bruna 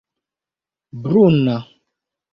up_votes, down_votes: 2, 0